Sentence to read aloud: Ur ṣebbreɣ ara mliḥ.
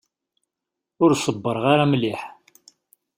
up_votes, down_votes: 2, 0